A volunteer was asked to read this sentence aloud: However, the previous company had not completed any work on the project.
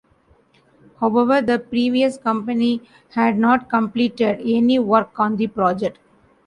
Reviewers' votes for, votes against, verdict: 2, 0, accepted